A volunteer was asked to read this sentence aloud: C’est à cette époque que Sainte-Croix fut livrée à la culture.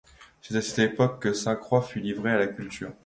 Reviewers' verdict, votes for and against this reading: accepted, 2, 0